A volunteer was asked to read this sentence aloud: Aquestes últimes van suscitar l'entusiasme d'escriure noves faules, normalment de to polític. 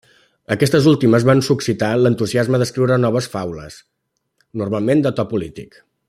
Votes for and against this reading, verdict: 0, 2, rejected